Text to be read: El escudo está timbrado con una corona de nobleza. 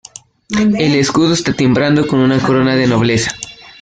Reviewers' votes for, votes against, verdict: 2, 1, accepted